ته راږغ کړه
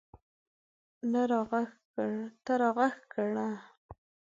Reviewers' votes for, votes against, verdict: 2, 0, accepted